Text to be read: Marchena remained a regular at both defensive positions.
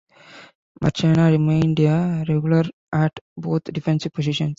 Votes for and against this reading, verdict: 1, 2, rejected